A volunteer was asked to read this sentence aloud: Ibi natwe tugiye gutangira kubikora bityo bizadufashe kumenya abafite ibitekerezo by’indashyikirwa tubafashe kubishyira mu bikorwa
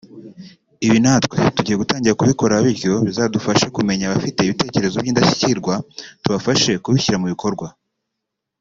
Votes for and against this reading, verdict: 3, 0, accepted